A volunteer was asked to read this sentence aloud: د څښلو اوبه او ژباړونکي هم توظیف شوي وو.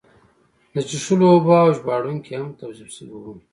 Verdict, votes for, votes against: accepted, 2, 1